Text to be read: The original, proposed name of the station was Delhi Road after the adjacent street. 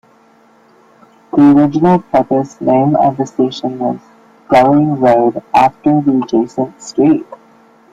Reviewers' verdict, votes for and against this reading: rejected, 0, 2